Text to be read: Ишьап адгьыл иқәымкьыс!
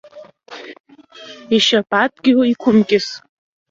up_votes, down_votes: 2, 0